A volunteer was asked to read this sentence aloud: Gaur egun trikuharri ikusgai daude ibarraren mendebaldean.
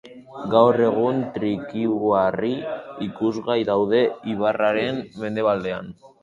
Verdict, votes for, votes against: rejected, 0, 2